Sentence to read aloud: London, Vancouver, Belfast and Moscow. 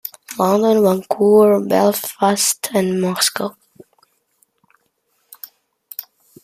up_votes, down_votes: 2, 0